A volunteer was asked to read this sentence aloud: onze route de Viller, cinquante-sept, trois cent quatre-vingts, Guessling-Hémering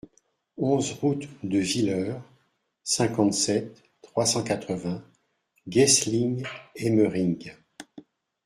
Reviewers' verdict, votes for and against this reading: accepted, 2, 0